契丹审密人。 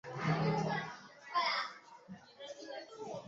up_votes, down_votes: 1, 2